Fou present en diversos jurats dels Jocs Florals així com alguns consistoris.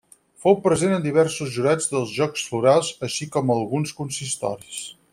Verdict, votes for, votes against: accepted, 6, 0